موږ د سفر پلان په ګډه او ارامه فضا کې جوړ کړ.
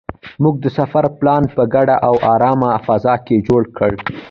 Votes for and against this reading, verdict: 2, 0, accepted